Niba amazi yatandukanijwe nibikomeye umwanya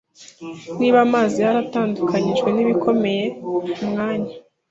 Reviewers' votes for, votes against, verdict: 0, 2, rejected